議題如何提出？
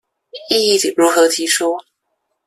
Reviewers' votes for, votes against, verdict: 0, 2, rejected